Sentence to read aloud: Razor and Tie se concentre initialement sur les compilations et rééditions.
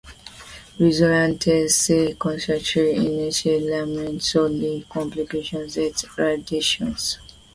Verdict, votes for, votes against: rejected, 0, 2